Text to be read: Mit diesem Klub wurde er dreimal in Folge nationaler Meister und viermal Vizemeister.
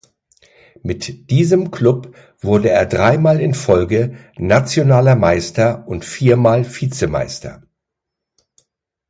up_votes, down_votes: 2, 0